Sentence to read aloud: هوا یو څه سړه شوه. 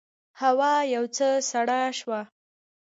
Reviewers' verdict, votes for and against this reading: accepted, 2, 0